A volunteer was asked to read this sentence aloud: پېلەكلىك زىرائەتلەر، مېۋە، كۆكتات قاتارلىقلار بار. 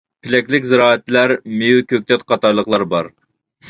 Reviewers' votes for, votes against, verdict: 2, 0, accepted